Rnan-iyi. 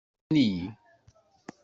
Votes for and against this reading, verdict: 0, 2, rejected